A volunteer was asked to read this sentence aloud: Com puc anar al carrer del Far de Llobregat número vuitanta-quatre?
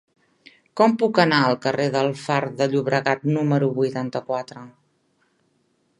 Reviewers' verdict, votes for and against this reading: accepted, 3, 0